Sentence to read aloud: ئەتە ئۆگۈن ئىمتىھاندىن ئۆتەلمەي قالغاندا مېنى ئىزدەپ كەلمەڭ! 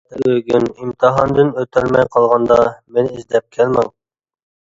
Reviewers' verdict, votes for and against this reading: rejected, 1, 2